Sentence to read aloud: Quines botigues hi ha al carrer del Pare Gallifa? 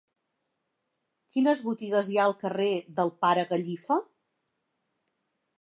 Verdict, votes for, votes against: accepted, 5, 0